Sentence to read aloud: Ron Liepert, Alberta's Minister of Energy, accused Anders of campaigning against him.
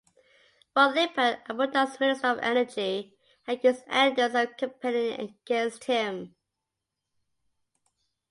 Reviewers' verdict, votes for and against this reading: rejected, 0, 2